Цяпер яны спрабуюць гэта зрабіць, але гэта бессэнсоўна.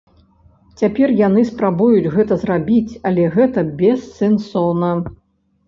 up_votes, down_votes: 2, 0